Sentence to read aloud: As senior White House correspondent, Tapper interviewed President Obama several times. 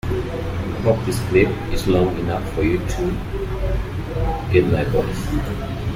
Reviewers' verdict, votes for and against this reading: rejected, 0, 2